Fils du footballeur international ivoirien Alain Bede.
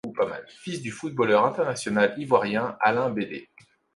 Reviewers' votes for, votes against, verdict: 1, 2, rejected